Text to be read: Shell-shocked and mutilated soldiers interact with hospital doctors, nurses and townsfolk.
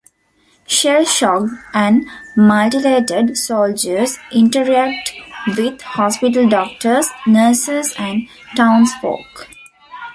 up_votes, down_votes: 2, 1